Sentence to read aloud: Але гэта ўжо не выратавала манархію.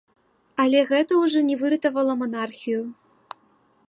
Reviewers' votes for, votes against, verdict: 2, 0, accepted